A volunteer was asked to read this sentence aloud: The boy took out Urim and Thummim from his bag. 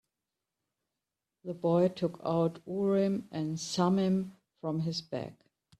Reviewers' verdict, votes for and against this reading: rejected, 1, 2